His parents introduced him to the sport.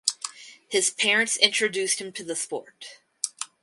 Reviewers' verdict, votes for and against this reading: accepted, 4, 0